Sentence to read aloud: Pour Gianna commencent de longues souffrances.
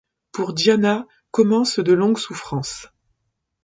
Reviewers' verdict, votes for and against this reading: accepted, 2, 1